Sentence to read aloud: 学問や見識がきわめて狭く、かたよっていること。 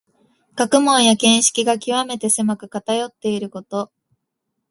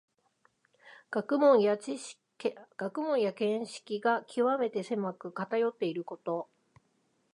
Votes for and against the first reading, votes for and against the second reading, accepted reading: 2, 0, 1, 2, first